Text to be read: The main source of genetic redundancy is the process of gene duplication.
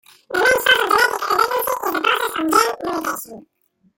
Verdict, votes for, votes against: rejected, 1, 2